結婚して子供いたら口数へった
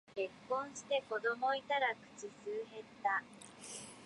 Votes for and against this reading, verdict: 1, 2, rejected